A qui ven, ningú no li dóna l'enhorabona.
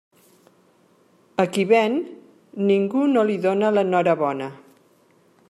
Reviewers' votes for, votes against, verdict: 2, 0, accepted